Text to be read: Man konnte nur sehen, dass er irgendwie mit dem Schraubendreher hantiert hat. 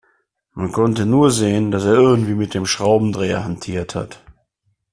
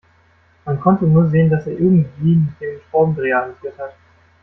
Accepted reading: first